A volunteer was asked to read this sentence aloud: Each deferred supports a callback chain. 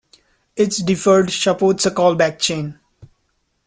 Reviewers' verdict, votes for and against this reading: rejected, 1, 2